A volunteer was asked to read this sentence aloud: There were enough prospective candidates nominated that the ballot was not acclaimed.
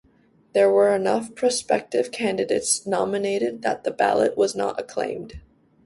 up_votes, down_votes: 2, 0